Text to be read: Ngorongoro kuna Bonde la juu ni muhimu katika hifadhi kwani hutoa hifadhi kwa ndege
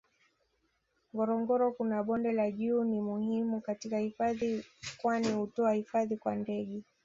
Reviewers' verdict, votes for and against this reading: rejected, 1, 2